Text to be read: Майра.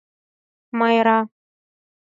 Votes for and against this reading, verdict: 4, 0, accepted